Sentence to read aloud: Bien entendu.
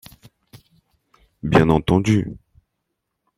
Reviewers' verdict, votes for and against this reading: rejected, 1, 2